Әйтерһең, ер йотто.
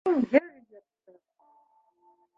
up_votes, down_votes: 0, 2